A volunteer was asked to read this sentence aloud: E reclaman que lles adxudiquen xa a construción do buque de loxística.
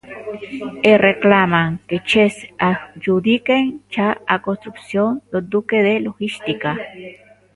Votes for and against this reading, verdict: 0, 2, rejected